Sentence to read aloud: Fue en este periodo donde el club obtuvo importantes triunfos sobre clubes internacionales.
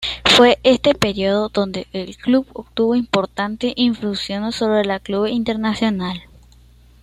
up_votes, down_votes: 1, 2